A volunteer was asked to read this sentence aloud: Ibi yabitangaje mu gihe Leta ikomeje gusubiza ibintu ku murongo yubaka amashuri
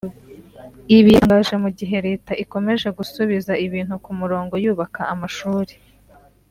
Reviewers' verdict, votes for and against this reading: rejected, 1, 2